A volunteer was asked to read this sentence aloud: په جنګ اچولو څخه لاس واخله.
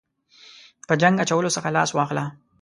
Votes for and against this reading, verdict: 2, 0, accepted